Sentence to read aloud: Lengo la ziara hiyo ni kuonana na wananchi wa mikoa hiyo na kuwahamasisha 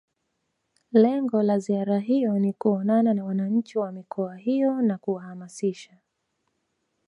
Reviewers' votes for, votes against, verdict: 1, 2, rejected